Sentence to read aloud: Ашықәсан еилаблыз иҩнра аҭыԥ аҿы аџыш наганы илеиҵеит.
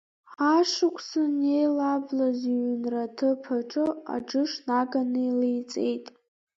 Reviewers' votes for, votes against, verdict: 0, 2, rejected